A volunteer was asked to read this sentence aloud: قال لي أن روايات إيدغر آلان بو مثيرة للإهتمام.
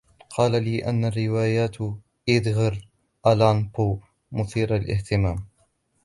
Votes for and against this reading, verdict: 2, 0, accepted